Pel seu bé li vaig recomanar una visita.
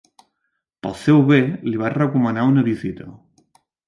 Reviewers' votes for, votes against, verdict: 2, 0, accepted